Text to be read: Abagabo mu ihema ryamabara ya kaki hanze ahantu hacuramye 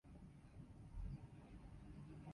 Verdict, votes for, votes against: rejected, 0, 2